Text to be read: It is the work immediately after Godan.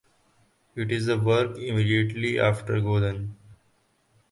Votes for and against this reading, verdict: 4, 0, accepted